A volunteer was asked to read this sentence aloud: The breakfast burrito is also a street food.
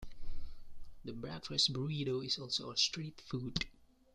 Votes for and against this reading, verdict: 2, 0, accepted